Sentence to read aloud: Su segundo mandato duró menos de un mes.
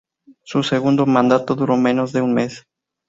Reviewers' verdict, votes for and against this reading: accepted, 2, 0